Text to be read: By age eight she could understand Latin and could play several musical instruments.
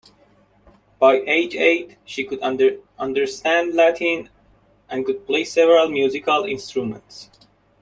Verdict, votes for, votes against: rejected, 0, 2